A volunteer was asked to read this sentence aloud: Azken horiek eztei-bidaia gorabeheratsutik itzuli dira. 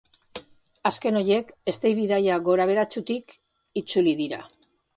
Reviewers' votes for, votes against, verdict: 1, 2, rejected